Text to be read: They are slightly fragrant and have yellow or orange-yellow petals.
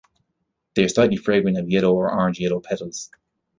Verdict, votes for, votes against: rejected, 0, 2